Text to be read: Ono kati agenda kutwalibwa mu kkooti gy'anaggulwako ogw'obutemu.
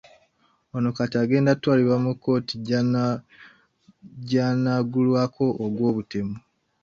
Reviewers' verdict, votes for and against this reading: rejected, 0, 2